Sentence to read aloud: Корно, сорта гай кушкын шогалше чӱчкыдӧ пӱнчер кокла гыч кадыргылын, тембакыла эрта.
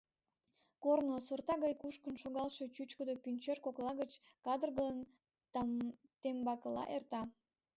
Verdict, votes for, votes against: rejected, 0, 2